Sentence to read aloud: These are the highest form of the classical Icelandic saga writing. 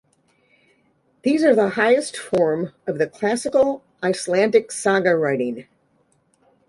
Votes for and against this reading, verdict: 2, 0, accepted